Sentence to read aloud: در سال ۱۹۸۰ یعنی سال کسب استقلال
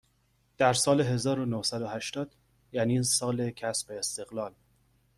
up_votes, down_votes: 0, 2